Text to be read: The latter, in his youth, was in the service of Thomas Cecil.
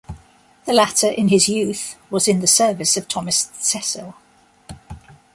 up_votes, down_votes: 2, 0